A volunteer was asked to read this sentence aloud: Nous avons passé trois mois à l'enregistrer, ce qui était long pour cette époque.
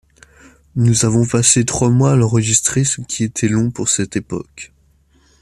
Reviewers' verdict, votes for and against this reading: accepted, 2, 0